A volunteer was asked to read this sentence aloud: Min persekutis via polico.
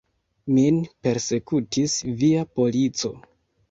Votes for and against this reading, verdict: 2, 1, accepted